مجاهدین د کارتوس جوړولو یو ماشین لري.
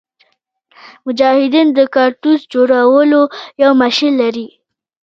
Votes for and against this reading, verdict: 1, 2, rejected